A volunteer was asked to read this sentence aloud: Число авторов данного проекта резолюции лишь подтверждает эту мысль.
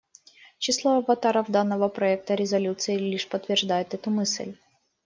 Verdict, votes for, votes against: rejected, 0, 2